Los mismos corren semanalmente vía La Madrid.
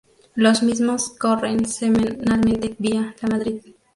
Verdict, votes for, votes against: rejected, 0, 2